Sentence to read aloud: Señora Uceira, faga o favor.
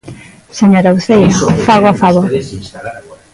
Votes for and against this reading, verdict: 0, 2, rejected